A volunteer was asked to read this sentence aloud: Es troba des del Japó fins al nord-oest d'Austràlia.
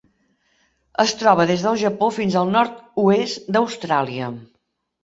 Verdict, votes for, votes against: accepted, 3, 0